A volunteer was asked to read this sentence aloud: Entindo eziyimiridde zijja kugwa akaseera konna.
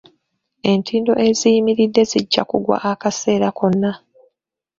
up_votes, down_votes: 2, 0